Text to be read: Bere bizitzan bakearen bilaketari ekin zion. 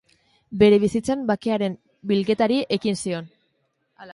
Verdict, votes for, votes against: rejected, 1, 2